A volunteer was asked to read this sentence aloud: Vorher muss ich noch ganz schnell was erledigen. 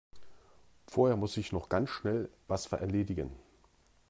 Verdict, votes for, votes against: rejected, 0, 2